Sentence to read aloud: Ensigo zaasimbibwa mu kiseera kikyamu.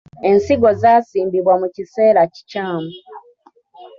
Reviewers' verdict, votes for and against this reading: accepted, 2, 0